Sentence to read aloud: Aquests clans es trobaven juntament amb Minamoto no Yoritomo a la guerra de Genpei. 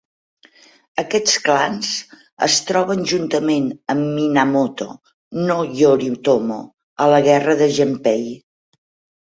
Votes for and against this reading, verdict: 0, 8, rejected